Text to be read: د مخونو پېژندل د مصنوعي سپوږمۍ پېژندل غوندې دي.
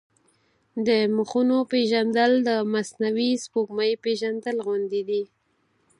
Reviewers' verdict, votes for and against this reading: accepted, 4, 0